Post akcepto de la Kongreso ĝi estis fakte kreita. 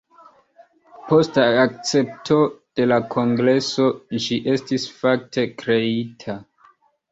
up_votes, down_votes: 2, 1